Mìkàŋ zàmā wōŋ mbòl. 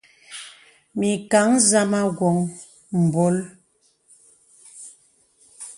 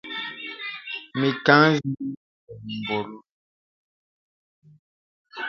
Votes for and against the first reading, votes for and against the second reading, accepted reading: 2, 0, 0, 2, first